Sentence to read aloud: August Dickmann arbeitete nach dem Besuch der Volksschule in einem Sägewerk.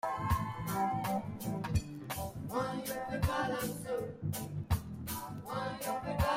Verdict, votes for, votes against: rejected, 0, 2